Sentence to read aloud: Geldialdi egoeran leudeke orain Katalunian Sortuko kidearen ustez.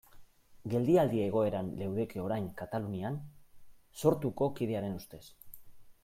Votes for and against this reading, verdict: 2, 1, accepted